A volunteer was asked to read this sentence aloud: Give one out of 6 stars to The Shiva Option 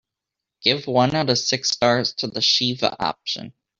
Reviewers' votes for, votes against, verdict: 0, 2, rejected